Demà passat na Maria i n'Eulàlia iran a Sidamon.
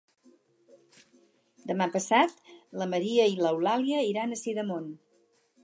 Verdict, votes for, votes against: rejected, 2, 4